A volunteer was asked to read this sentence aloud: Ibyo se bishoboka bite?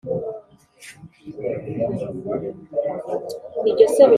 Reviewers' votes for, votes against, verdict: 2, 3, rejected